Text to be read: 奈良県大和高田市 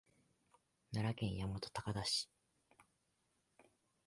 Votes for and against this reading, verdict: 2, 0, accepted